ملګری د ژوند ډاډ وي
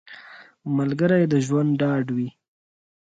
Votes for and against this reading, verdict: 2, 0, accepted